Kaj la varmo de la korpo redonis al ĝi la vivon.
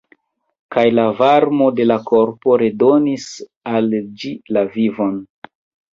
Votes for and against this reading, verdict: 1, 2, rejected